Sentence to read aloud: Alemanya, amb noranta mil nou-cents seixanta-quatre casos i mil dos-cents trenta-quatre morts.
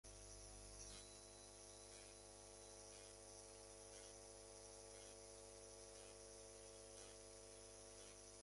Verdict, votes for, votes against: rejected, 0, 2